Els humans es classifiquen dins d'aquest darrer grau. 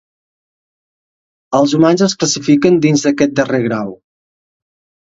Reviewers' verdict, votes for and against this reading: accepted, 2, 0